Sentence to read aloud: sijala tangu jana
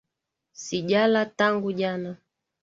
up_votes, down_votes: 2, 1